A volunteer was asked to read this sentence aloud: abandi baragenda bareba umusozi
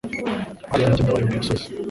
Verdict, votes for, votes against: rejected, 0, 2